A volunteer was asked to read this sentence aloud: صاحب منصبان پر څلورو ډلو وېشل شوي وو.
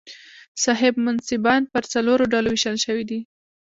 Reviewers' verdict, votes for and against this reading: rejected, 0, 2